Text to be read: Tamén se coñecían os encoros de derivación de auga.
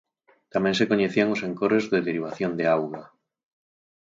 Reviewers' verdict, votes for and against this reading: accepted, 4, 0